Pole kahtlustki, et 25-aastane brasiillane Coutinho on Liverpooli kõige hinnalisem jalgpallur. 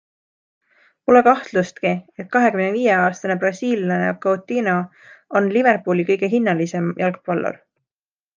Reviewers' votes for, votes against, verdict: 0, 2, rejected